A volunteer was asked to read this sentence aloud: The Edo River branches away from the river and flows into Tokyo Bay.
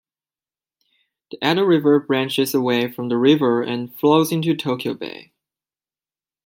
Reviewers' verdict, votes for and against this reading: accepted, 2, 1